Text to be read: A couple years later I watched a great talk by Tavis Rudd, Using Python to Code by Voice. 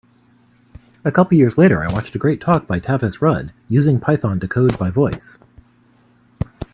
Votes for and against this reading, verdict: 2, 0, accepted